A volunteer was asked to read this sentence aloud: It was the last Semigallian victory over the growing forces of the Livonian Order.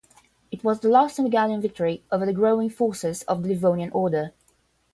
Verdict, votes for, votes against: accepted, 5, 0